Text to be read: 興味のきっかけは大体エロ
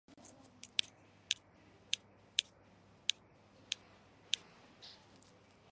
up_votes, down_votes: 0, 2